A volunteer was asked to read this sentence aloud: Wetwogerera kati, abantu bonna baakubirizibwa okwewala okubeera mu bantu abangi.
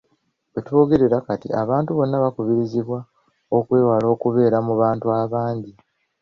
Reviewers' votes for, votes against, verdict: 0, 2, rejected